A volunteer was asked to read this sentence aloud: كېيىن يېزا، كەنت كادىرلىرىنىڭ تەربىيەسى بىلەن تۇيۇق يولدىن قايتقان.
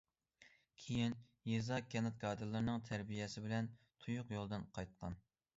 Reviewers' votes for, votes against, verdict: 2, 0, accepted